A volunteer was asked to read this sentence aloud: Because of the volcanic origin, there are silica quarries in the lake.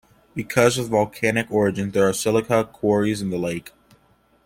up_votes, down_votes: 2, 1